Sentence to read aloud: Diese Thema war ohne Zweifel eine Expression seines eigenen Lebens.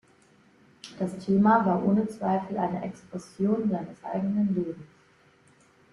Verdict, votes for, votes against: rejected, 0, 2